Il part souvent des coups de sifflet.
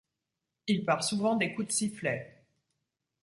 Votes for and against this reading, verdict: 2, 0, accepted